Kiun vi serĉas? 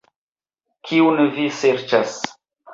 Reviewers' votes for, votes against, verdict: 2, 1, accepted